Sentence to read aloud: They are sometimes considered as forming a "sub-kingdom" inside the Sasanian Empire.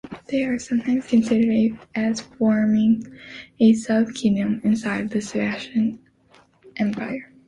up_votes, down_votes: 0, 2